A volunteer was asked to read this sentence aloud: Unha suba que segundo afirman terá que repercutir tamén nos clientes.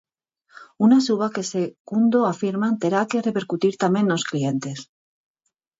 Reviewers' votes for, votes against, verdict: 0, 4, rejected